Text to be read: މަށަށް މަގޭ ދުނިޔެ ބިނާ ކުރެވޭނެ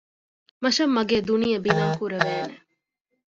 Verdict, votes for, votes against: rejected, 0, 2